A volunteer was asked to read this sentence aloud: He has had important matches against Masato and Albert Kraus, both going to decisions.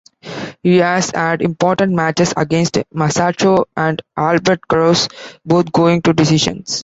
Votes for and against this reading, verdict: 2, 0, accepted